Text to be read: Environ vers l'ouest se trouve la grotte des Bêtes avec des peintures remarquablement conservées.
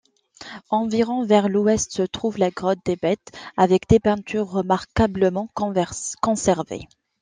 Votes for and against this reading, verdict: 0, 2, rejected